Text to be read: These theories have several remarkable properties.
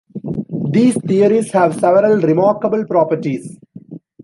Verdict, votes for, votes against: accepted, 2, 0